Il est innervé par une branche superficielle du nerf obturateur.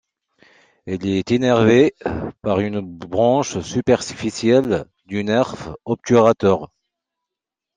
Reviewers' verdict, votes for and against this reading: accepted, 2, 1